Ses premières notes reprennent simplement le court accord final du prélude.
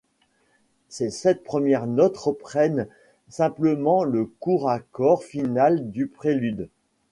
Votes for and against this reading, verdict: 1, 2, rejected